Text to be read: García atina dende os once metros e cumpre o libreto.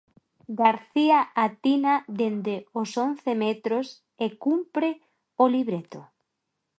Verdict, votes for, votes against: rejected, 0, 2